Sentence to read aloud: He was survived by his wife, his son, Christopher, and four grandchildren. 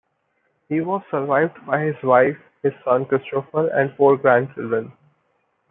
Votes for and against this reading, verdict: 2, 0, accepted